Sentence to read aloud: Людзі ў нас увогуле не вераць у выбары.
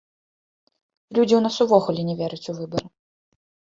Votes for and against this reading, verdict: 2, 0, accepted